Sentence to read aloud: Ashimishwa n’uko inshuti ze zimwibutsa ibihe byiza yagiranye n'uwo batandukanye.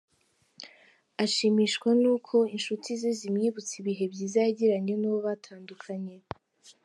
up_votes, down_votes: 4, 0